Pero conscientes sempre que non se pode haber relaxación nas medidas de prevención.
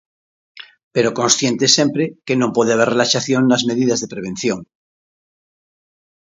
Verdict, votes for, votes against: rejected, 0, 2